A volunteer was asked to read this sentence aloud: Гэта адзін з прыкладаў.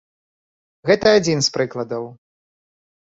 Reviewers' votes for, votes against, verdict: 2, 0, accepted